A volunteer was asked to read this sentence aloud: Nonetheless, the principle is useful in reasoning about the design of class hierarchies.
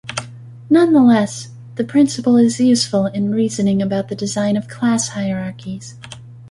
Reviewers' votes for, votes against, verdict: 3, 0, accepted